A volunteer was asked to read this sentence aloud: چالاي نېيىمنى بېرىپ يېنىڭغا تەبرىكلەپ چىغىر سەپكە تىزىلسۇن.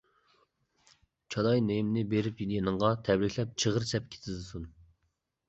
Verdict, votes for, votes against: rejected, 1, 2